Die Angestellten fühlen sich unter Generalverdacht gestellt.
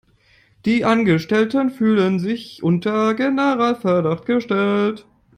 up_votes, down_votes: 1, 2